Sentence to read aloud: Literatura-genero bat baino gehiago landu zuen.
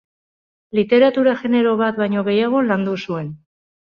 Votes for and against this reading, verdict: 2, 0, accepted